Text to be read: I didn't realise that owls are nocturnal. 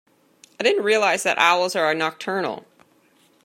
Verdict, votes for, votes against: accepted, 2, 0